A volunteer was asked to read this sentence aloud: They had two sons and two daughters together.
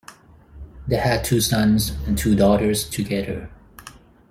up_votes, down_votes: 4, 2